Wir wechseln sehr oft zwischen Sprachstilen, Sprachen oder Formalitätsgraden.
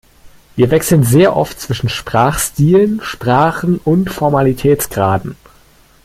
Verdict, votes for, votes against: rejected, 1, 2